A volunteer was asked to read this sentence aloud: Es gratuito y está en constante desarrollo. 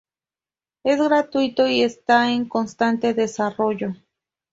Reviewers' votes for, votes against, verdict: 2, 0, accepted